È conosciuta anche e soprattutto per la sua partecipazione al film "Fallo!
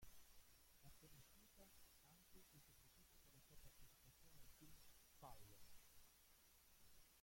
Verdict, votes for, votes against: rejected, 0, 2